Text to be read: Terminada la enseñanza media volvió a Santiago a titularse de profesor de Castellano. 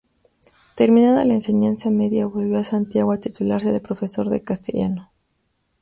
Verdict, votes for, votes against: accepted, 2, 0